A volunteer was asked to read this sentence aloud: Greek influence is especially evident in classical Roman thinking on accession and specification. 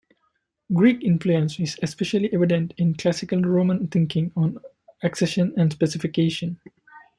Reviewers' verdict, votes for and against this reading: rejected, 1, 2